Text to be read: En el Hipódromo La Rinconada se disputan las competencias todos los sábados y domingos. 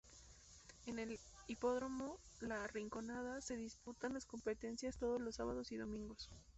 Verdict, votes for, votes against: rejected, 0, 2